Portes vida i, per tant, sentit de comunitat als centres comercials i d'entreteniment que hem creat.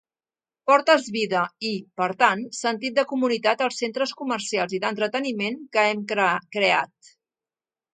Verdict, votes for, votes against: rejected, 0, 2